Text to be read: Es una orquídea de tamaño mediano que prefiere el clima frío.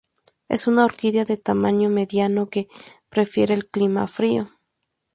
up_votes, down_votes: 2, 0